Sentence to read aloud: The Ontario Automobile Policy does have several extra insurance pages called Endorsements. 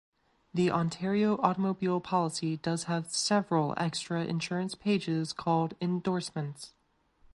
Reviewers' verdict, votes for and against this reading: rejected, 1, 2